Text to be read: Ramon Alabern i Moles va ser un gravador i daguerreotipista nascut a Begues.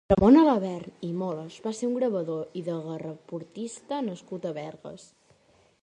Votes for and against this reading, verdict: 0, 2, rejected